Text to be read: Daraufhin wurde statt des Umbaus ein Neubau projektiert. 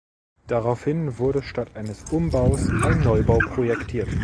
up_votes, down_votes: 1, 2